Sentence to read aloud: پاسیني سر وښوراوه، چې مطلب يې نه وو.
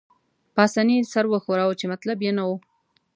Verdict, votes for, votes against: accepted, 2, 0